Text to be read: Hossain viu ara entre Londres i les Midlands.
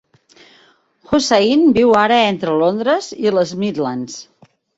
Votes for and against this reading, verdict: 2, 0, accepted